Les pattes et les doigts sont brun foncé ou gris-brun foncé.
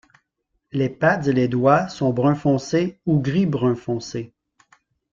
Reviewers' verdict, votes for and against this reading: rejected, 1, 2